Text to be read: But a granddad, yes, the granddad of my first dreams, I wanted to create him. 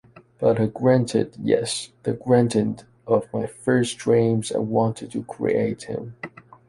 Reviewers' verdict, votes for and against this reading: rejected, 1, 2